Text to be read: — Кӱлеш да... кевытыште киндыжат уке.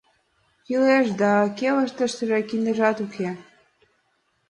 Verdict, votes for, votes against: accepted, 2, 1